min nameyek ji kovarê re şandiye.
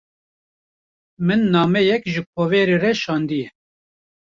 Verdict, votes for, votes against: rejected, 1, 2